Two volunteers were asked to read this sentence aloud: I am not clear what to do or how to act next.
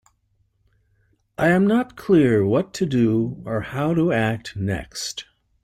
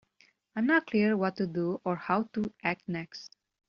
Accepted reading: first